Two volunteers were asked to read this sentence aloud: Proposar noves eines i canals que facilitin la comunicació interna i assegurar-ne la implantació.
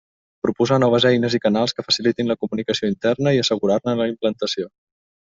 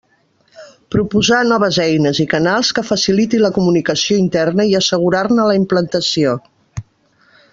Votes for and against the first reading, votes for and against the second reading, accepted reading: 2, 0, 1, 2, first